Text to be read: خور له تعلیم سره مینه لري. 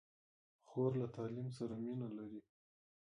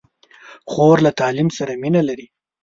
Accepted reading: second